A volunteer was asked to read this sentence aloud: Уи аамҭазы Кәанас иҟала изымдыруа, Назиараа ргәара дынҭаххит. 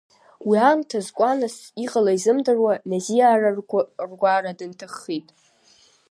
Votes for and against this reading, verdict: 1, 2, rejected